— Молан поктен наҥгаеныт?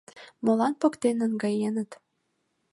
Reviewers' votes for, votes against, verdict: 2, 0, accepted